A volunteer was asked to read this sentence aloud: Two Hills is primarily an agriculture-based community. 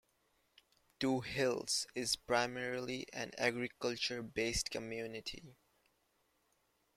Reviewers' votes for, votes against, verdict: 0, 2, rejected